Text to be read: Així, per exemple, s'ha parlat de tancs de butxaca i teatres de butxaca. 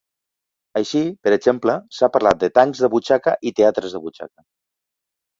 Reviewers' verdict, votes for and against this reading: accepted, 3, 0